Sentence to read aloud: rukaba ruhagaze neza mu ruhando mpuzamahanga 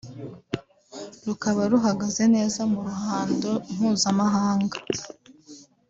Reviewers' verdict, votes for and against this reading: accepted, 4, 1